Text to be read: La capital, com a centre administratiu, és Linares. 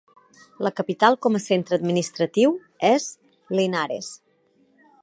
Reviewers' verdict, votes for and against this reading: accepted, 4, 0